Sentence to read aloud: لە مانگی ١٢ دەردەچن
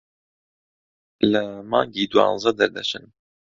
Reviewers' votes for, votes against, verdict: 0, 2, rejected